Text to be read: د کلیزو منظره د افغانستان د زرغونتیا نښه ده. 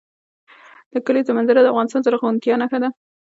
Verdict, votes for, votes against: accepted, 2, 0